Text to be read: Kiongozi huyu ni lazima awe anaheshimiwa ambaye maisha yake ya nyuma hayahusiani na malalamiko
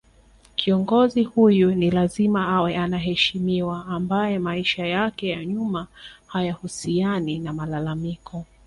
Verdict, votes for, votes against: accepted, 2, 0